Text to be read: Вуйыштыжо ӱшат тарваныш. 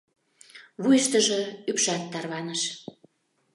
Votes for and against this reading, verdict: 0, 2, rejected